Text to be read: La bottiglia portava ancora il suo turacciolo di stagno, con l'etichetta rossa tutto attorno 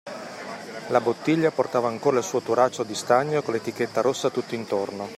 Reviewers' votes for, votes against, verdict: 1, 2, rejected